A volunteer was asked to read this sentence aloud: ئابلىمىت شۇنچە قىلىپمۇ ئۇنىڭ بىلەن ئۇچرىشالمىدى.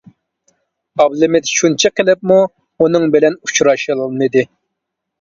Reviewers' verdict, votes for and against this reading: rejected, 0, 2